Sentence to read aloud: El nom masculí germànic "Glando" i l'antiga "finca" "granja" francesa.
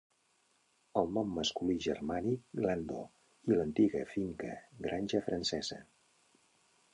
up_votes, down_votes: 2, 0